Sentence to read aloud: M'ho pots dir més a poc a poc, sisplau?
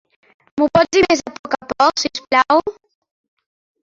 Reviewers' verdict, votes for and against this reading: rejected, 1, 2